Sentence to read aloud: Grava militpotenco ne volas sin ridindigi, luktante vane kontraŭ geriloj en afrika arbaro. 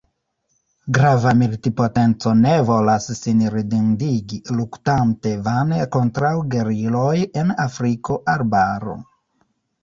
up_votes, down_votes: 0, 2